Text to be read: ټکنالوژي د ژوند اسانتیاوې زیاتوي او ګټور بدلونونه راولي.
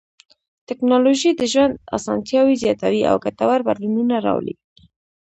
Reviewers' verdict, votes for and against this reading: rejected, 1, 2